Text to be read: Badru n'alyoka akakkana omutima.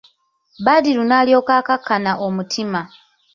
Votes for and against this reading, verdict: 2, 0, accepted